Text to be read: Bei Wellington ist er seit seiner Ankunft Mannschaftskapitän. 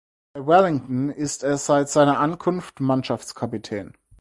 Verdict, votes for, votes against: accepted, 4, 2